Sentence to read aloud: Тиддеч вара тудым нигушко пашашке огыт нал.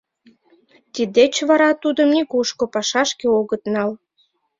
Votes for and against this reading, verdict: 2, 0, accepted